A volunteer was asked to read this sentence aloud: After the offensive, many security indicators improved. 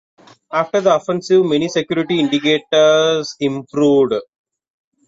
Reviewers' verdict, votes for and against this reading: accepted, 2, 0